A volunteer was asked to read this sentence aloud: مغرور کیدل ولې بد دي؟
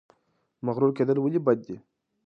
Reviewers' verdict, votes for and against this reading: accepted, 2, 0